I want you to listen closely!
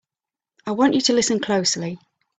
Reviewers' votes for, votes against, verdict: 3, 0, accepted